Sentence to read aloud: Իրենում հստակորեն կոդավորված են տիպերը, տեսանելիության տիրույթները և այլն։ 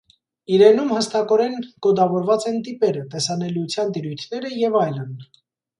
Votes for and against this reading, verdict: 2, 0, accepted